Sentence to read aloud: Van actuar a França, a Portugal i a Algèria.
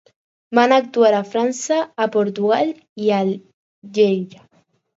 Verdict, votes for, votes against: rejected, 2, 4